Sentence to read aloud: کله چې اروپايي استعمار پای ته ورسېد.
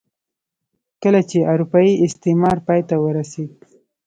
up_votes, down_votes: 2, 1